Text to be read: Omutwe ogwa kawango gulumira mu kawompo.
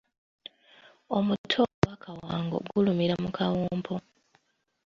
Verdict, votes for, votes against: rejected, 1, 2